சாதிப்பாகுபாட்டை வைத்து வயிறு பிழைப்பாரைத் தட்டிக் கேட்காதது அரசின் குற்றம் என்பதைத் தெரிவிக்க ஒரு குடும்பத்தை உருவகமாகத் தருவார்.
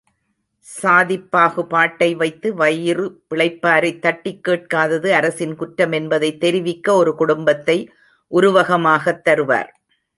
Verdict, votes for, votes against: accepted, 3, 0